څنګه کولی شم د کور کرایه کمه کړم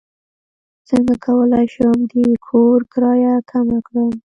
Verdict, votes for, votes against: rejected, 1, 2